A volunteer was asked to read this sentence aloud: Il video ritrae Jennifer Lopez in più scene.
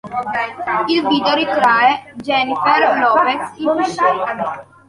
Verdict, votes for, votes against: rejected, 1, 2